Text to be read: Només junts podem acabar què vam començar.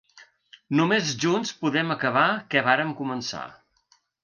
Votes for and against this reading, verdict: 0, 2, rejected